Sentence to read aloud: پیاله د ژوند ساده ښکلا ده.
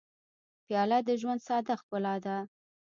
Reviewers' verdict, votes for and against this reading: rejected, 1, 2